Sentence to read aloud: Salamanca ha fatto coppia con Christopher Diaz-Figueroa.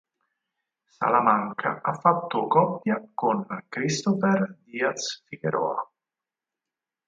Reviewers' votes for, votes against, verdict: 4, 0, accepted